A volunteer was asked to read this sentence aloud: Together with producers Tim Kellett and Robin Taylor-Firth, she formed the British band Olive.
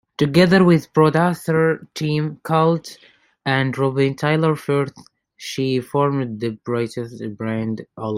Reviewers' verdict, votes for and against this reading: rejected, 0, 2